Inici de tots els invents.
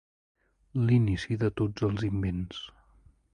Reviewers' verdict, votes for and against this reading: rejected, 1, 2